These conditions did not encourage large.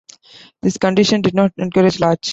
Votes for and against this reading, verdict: 2, 1, accepted